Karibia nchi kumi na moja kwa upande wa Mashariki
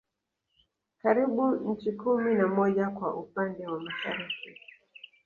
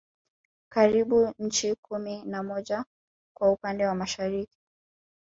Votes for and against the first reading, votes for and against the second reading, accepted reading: 2, 0, 1, 2, first